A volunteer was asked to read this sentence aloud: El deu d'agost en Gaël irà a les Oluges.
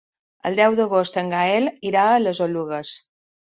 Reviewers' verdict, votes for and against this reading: accepted, 2, 1